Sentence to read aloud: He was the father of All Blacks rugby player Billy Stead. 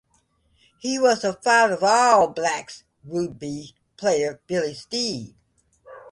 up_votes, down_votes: 0, 2